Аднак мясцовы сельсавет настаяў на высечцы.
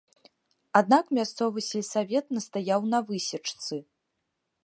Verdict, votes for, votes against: accepted, 2, 0